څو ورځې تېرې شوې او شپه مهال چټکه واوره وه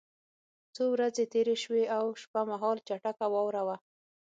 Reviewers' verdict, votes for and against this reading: accepted, 6, 0